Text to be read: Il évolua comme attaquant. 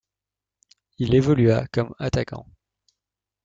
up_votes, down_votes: 1, 2